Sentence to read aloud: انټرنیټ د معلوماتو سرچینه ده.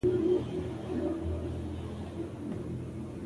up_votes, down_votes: 1, 2